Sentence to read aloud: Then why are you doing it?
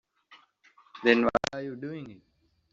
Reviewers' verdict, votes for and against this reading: rejected, 0, 2